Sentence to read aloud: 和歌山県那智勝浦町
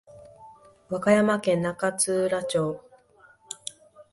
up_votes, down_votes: 2, 0